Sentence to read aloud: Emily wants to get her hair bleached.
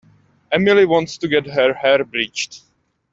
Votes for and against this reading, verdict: 2, 1, accepted